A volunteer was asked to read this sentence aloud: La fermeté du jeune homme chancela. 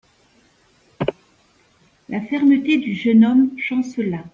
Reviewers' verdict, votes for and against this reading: accepted, 2, 0